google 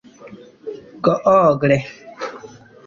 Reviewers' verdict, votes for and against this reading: rejected, 1, 2